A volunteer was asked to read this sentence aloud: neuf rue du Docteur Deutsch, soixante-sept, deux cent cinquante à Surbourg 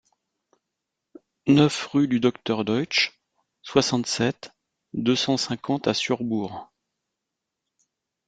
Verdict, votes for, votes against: accepted, 3, 0